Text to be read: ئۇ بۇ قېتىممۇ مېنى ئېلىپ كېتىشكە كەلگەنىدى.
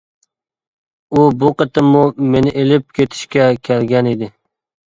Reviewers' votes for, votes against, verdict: 2, 0, accepted